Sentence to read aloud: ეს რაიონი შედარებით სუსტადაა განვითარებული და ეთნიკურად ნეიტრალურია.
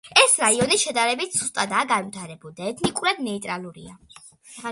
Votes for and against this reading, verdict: 2, 0, accepted